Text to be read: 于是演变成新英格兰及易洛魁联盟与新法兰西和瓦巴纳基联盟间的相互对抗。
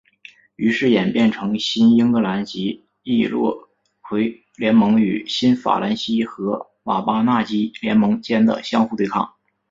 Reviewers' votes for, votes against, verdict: 1, 2, rejected